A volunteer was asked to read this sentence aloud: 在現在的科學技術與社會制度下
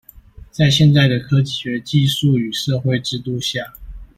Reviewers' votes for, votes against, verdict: 1, 2, rejected